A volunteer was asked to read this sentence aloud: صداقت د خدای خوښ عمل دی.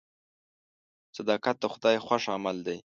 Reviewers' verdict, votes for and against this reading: accepted, 2, 0